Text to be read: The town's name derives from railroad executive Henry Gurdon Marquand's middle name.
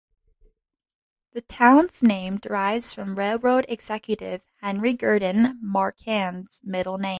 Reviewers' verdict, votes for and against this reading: rejected, 1, 2